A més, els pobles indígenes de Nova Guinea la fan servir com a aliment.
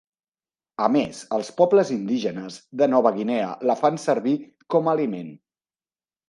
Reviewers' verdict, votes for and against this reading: accepted, 3, 0